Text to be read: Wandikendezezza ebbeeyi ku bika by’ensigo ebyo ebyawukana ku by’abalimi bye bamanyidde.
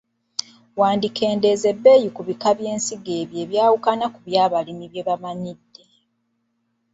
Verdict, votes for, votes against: rejected, 0, 2